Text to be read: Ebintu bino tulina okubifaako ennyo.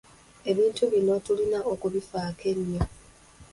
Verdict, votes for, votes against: accepted, 3, 0